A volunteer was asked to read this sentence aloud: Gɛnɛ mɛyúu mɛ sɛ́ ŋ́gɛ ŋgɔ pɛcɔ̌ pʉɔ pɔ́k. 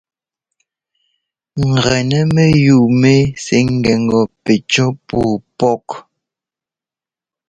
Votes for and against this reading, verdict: 1, 2, rejected